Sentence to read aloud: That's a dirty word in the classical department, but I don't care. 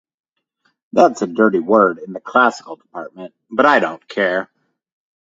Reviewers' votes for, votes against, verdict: 4, 0, accepted